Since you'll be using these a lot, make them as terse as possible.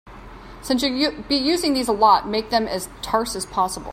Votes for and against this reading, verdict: 0, 2, rejected